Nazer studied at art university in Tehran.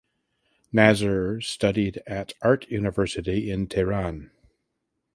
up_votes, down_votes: 2, 0